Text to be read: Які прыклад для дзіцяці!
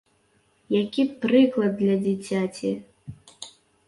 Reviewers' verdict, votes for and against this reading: accepted, 3, 0